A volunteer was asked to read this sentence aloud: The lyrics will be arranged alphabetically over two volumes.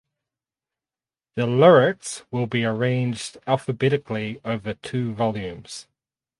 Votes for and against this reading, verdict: 2, 2, rejected